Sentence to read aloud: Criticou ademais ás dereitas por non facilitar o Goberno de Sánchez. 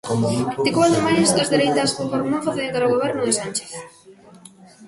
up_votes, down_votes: 1, 2